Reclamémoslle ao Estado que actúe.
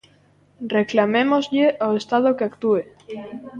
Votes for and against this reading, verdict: 1, 2, rejected